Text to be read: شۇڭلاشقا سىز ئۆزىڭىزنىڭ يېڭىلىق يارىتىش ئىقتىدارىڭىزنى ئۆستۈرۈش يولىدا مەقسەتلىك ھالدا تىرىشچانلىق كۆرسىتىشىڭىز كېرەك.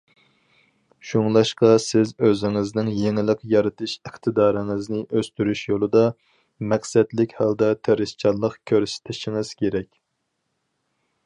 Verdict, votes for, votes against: accepted, 4, 0